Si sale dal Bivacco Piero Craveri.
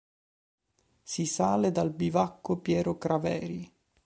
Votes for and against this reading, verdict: 2, 0, accepted